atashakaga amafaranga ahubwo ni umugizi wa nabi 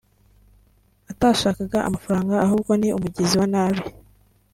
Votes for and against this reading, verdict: 2, 0, accepted